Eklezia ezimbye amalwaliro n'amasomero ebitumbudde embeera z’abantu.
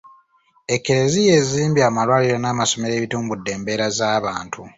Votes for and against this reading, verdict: 1, 2, rejected